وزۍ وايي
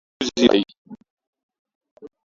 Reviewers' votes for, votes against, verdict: 0, 2, rejected